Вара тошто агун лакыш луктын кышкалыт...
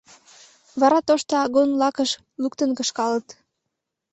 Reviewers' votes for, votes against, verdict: 2, 0, accepted